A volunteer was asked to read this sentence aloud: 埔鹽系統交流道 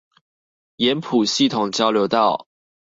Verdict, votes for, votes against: rejected, 0, 2